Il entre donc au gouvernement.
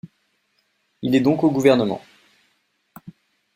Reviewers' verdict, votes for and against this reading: rejected, 0, 2